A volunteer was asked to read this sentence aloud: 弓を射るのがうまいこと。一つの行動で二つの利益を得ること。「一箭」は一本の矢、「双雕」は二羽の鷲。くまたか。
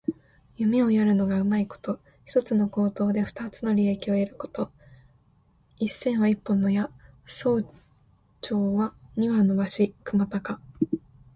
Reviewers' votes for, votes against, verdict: 1, 2, rejected